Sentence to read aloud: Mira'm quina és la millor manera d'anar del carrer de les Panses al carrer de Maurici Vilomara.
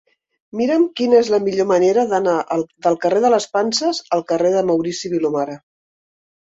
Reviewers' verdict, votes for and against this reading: rejected, 0, 2